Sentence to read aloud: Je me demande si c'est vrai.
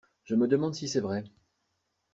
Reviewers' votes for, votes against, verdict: 2, 0, accepted